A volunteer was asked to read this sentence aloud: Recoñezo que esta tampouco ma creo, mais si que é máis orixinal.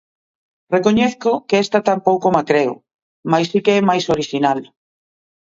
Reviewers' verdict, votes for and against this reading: accepted, 2, 0